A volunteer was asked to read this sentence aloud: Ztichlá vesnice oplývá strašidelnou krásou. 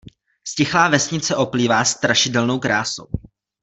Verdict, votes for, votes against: accepted, 2, 0